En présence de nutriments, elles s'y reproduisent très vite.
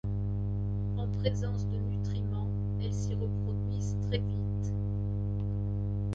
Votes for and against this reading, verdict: 1, 2, rejected